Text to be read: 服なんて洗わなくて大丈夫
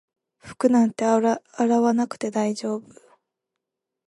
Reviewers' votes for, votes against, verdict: 2, 0, accepted